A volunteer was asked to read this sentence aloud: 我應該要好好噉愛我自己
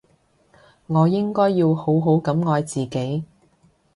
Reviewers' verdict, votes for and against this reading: rejected, 1, 2